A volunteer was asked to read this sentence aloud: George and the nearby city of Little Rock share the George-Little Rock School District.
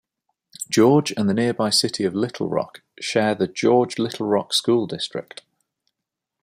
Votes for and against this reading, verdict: 2, 0, accepted